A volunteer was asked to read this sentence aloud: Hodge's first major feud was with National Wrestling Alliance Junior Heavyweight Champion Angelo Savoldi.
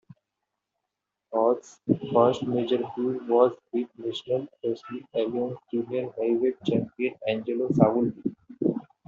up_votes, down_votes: 1, 2